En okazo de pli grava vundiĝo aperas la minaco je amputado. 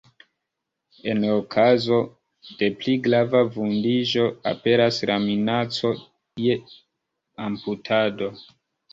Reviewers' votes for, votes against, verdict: 1, 2, rejected